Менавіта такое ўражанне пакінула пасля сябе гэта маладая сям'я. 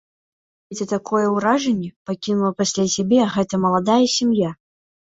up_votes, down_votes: 0, 2